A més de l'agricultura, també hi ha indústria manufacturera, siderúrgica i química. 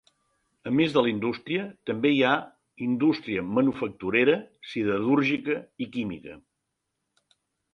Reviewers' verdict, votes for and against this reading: rejected, 1, 2